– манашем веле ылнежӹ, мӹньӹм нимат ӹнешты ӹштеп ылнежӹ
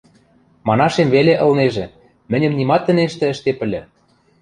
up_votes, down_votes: 0, 2